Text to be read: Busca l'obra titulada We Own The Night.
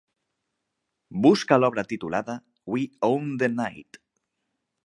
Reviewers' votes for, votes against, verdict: 4, 0, accepted